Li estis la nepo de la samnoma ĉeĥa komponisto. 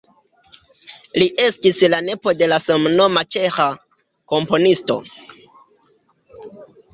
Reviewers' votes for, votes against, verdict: 2, 0, accepted